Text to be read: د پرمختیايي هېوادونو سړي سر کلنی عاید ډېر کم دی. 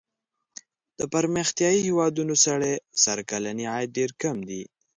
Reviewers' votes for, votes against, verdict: 2, 1, accepted